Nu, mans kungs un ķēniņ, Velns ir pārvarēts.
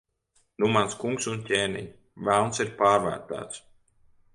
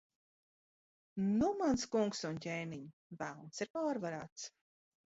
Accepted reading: second